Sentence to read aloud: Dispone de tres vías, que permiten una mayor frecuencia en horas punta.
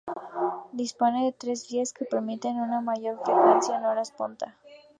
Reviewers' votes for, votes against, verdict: 2, 0, accepted